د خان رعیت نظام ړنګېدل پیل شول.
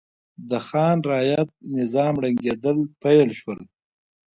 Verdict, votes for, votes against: accepted, 2, 0